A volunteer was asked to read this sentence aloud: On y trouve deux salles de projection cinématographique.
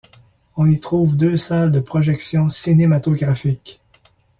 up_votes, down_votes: 2, 0